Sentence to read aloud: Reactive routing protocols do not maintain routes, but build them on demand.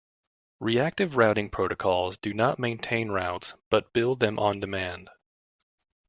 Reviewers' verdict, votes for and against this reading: accepted, 2, 0